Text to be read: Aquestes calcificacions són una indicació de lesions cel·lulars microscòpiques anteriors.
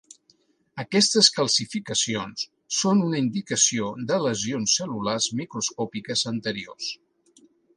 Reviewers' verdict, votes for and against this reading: accepted, 3, 0